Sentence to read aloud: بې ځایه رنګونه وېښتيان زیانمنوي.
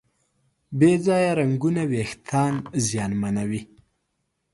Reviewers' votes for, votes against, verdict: 2, 0, accepted